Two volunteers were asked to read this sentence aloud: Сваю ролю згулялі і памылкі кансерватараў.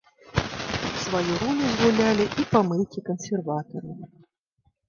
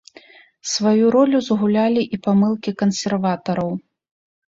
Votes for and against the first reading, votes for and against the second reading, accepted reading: 1, 2, 2, 0, second